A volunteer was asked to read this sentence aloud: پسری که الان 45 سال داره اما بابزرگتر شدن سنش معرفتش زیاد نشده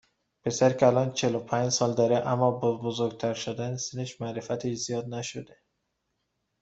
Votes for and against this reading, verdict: 0, 2, rejected